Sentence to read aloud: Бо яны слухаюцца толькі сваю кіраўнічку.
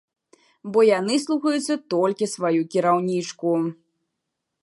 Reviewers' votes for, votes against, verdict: 3, 0, accepted